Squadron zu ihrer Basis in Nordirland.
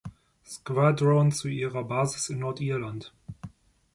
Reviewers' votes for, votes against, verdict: 2, 0, accepted